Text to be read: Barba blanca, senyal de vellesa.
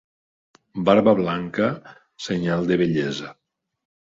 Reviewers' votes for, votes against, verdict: 2, 0, accepted